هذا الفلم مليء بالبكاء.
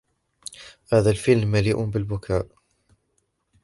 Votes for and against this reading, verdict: 2, 0, accepted